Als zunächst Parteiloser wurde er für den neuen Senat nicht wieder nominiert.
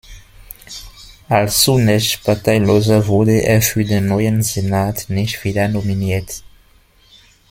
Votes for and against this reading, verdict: 2, 0, accepted